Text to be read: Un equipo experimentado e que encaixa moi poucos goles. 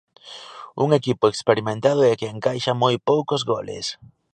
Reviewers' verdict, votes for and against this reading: accepted, 2, 0